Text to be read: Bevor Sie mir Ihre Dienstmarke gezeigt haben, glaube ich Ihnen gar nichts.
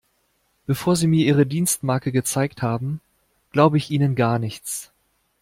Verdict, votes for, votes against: accepted, 2, 0